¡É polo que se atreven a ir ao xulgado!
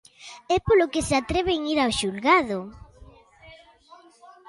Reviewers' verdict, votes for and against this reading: rejected, 0, 2